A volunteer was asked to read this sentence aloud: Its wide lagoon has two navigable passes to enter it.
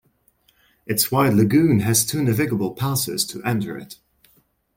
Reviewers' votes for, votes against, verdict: 1, 2, rejected